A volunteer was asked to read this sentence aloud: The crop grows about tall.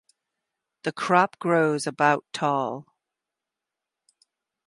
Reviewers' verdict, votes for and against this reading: accepted, 4, 0